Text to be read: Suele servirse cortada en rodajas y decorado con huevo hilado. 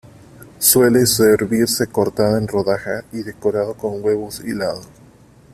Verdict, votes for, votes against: accepted, 2, 0